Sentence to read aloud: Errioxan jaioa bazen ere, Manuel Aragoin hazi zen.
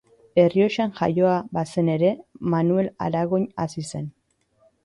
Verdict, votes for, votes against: accepted, 2, 0